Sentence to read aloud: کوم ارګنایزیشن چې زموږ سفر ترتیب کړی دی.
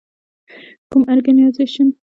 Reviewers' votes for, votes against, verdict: 0, 2, rejected